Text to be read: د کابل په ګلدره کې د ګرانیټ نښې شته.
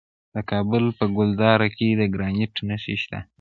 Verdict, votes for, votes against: rejected, 0, 2